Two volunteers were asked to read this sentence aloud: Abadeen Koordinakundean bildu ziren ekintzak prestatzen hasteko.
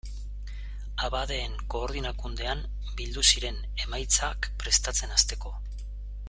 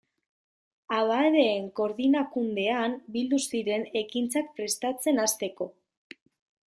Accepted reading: second